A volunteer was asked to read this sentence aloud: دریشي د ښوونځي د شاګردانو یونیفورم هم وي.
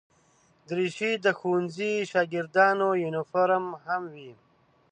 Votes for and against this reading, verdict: 1, 2, rejected